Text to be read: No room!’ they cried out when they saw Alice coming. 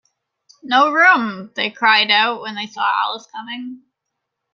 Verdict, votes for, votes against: accepted, 2, 0